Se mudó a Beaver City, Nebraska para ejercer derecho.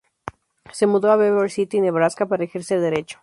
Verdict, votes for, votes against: rejected, 0, 2